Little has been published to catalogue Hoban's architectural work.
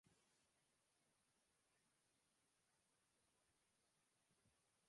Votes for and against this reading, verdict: 0, 2, rejected